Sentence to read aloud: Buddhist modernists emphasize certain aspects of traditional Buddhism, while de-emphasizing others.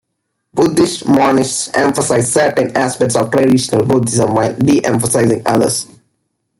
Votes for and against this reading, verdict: 1, 2, rejected